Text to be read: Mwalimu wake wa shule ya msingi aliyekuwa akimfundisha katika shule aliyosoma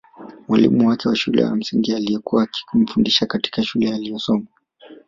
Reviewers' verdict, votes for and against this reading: accepted, 2, 0